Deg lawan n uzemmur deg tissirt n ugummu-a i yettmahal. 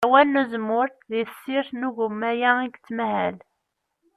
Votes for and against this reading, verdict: 0, 2, rejected